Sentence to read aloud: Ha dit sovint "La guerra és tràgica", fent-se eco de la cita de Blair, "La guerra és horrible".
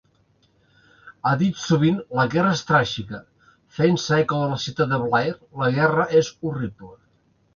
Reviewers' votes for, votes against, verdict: 2, 0, accepted